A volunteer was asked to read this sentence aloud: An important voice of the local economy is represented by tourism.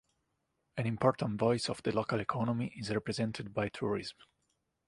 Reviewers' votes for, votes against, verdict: 2, 0, accepted